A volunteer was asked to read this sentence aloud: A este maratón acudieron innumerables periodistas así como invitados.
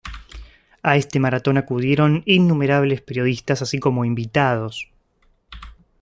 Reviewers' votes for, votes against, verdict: 2, 0, accepted